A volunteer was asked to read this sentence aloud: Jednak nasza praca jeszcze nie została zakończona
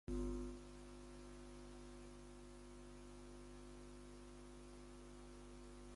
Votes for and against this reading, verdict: 0, 2, rejected